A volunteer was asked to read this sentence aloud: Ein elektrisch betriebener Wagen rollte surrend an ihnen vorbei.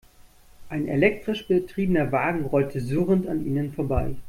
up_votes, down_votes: 2, 0